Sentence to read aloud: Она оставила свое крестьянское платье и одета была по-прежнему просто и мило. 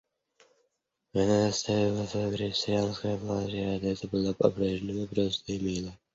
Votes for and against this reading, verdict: 1, 2, rejected